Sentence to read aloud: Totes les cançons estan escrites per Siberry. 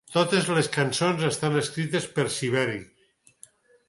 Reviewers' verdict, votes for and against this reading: accepted, 6, 0